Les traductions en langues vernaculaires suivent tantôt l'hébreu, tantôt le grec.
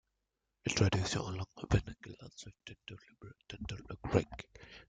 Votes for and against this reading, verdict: 0, 2, rejected